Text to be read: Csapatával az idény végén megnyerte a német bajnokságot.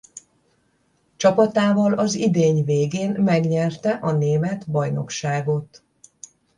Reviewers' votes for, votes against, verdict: 10, 0, accepted